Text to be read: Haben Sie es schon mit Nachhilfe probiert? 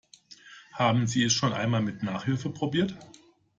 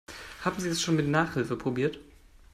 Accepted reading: second